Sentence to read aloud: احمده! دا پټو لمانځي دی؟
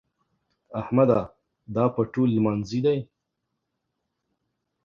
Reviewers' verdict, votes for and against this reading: accepted, 2, 0